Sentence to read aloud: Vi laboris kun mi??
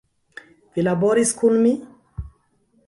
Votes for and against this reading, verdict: 1, 2, rejected